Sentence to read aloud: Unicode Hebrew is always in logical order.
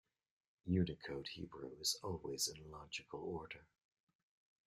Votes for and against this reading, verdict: 2, 0, accepted